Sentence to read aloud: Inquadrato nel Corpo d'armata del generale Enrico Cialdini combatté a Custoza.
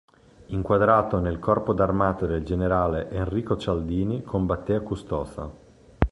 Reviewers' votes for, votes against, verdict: 3, 0, accepted